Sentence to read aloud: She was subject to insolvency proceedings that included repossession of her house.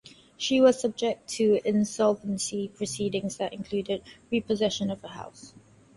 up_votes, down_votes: 4, 0